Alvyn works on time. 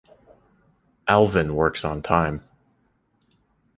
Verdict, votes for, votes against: rejected, 1, 2